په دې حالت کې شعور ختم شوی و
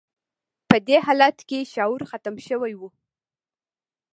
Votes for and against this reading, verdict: 2, 0, accepted